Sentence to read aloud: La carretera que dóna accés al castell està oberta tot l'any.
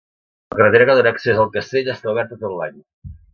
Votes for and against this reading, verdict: 0, 2, rejected